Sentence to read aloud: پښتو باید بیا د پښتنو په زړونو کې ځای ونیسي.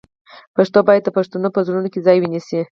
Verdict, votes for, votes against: accepted, 4, 2